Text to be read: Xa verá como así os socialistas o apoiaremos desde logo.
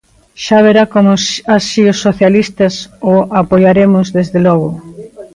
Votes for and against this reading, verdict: 0, 2, rejected